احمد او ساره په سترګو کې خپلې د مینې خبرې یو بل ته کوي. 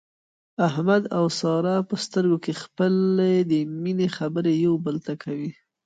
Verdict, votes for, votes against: rejected, 1, 2